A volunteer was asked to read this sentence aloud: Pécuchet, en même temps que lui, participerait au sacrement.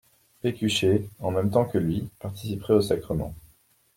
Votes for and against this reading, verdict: 2, 0, accepted